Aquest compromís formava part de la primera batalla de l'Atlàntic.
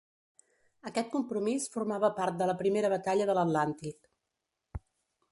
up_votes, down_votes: 2, 0